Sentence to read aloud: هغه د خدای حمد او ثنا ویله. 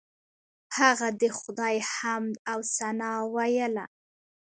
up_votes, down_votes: 1, 2